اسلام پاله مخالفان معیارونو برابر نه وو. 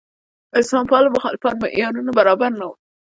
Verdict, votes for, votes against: accepted, 2, 1